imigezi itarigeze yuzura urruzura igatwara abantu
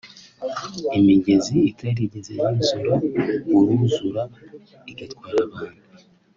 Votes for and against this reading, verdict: 3, 0, accepted